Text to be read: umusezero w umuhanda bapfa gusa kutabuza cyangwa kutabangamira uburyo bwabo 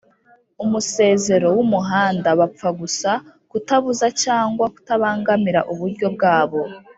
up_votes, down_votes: 2, 0